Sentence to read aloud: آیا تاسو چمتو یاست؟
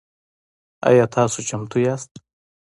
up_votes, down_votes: 2, 0